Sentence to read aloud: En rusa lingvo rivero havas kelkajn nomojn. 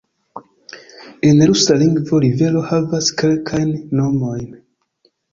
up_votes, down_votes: 2, 0